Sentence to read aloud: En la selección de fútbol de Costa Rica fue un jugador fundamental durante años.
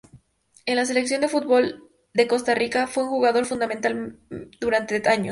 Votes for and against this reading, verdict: 0, 2, rejected